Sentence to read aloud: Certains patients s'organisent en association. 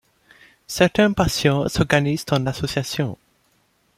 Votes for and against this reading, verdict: 2, 0, accepted